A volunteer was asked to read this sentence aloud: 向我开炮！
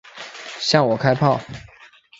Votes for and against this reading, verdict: 3, 0, accepted